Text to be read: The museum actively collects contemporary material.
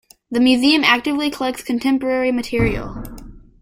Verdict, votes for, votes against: accepted, 2, 0